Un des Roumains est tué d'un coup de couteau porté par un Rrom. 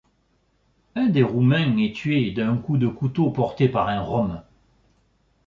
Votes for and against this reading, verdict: 2, 1, accepted